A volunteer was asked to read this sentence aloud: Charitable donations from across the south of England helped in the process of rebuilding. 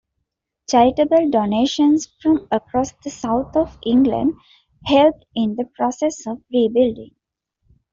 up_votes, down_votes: 2, 1